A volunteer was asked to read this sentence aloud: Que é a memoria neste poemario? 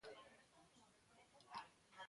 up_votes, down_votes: 0, 2